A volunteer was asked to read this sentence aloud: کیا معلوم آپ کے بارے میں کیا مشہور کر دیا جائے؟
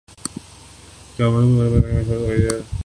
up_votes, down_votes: 0, 2